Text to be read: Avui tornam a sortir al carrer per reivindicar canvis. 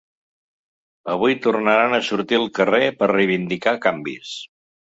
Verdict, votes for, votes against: rejected, 2, 3